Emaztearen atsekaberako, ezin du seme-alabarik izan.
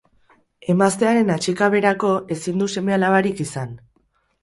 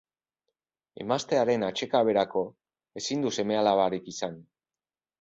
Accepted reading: second